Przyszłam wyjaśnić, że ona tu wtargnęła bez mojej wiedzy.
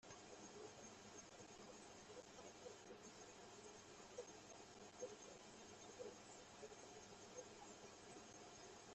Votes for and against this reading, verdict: 0, 2, rejected